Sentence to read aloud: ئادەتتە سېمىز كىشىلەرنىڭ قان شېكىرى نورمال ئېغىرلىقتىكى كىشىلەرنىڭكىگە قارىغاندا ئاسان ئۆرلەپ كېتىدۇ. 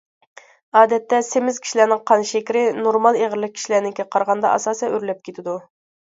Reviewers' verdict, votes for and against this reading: rejected, 1, 2